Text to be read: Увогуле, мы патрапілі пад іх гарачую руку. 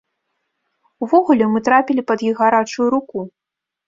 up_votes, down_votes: 0, 2